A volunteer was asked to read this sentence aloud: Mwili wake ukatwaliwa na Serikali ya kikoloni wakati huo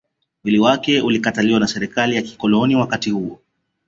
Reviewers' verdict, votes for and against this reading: rejected, 0, 2